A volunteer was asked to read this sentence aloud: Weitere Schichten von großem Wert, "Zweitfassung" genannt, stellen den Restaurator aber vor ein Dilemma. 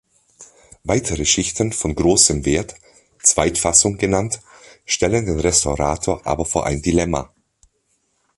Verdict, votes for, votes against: accepted, 3, 0